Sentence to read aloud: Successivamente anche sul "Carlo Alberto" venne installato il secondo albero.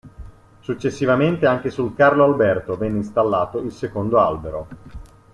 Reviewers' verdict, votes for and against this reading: accepted, 2, 0